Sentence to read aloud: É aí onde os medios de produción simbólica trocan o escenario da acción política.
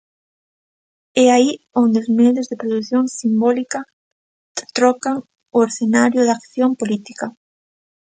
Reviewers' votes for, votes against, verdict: 2, 0, accepted